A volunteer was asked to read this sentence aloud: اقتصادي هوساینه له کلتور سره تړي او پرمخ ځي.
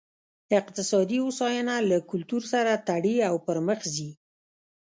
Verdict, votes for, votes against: rejected, 1, 2